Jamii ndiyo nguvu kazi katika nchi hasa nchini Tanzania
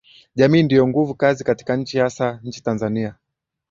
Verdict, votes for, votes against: accepted, 2, 0